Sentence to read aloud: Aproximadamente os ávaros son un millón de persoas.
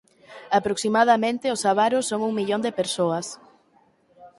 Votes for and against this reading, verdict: 2, 4, rejected